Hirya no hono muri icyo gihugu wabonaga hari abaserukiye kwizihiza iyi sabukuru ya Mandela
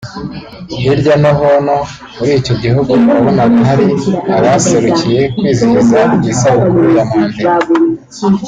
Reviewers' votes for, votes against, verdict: 0, 2, rejected